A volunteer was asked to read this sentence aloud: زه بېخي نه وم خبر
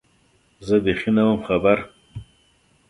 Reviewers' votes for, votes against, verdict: 2, 0, accepted